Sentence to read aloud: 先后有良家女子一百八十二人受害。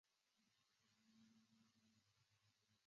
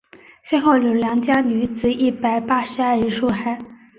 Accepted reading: second